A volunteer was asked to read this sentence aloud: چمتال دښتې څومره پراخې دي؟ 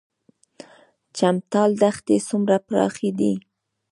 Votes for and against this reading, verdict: 1, 2, rejected